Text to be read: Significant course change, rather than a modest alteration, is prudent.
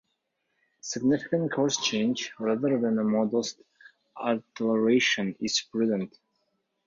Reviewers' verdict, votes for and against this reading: accepted, 2, 0